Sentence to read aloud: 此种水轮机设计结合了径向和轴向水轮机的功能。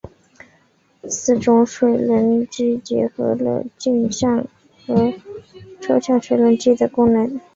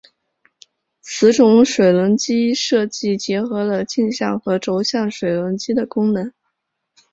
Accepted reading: second